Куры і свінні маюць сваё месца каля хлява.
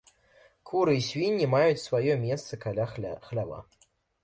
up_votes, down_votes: 1, 2